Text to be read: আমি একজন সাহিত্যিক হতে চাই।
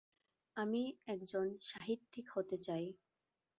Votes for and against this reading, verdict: 3, 0, accepted